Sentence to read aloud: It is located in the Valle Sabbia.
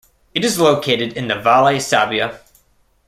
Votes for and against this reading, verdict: 2, 0, accepted